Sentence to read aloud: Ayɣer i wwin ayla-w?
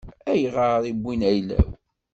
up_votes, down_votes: 2, 0